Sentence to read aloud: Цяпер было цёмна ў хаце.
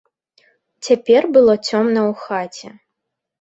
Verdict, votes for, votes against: accepted, 2, 0